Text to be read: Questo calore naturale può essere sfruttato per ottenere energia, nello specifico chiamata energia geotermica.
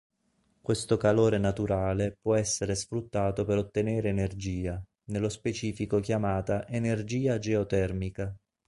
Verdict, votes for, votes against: accepted, 3, 0